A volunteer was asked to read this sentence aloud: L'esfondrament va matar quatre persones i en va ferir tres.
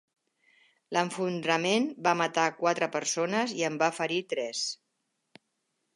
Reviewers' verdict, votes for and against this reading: rejected, 1, 2